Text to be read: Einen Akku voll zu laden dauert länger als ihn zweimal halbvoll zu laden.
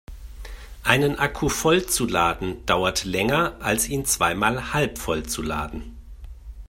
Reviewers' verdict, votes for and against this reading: accepted, 2, 0